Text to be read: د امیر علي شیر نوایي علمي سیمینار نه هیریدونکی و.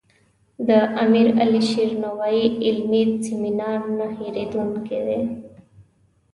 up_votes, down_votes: 1, 2